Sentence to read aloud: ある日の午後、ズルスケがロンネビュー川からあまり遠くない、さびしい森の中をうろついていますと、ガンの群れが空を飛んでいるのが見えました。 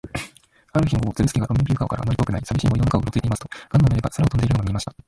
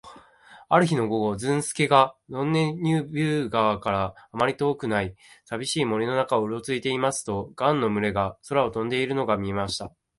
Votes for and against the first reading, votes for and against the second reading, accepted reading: 1, 2, 2, 0, second